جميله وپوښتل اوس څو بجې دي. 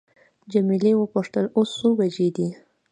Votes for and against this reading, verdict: 2, 1, accepted